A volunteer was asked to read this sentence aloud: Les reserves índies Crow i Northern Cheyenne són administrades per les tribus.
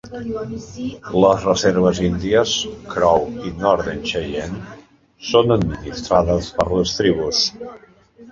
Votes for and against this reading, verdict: 1, 2, rejected